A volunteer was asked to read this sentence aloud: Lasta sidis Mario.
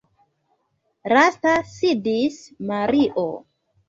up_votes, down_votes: 1, 2